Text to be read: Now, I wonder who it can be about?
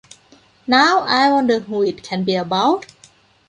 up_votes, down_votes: 3, 0